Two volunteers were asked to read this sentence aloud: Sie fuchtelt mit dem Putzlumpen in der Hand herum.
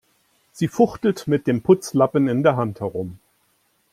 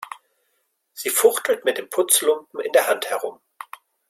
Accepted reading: second